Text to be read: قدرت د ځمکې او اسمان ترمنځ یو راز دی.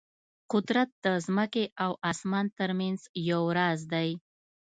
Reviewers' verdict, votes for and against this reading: accepted, 2, 0